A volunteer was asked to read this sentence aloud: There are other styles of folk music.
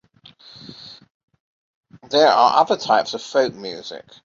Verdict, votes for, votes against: rejected, 0, 2